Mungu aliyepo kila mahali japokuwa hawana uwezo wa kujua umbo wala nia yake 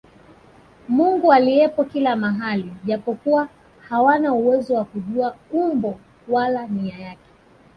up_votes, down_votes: 2, 0